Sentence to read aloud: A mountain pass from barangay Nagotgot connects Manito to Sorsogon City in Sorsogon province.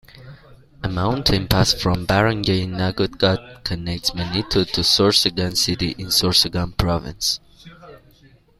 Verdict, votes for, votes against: accepted, 2, 0